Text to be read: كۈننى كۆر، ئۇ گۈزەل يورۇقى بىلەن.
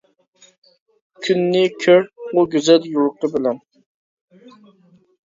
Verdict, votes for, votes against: rejected, 0, 2